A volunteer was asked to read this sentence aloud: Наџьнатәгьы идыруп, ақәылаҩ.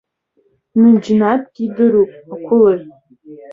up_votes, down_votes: 1, 2